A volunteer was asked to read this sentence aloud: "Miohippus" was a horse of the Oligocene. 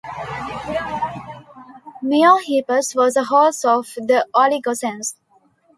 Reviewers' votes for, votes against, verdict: 1, 2, rejected